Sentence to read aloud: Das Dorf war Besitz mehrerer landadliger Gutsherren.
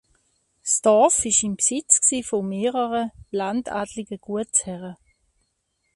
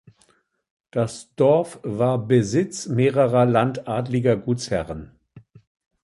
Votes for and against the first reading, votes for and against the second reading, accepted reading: 0, 2, 2, 0, second